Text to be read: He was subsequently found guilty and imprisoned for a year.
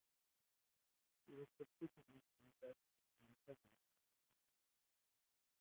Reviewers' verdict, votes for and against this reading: rejected, 0, 2